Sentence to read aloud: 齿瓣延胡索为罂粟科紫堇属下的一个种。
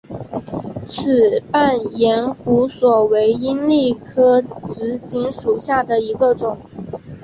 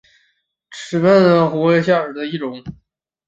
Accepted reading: first